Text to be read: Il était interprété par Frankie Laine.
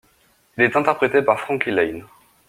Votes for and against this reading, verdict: 0, 2, rejected